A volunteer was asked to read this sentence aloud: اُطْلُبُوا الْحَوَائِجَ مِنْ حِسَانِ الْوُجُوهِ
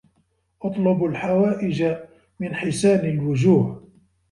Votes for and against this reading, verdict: 1, 2, rejected